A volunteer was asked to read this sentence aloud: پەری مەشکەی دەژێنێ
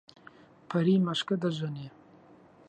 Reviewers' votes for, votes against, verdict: 0, 2, rejected